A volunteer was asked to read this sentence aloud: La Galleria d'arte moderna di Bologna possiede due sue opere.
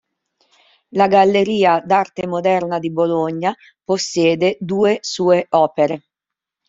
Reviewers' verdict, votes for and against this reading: rejected, 1, 2